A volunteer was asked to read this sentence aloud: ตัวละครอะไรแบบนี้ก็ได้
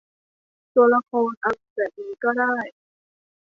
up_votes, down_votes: 1, 2